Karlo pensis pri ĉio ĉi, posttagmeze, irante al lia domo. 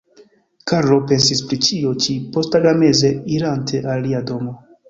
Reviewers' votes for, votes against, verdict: 0, 2, rejected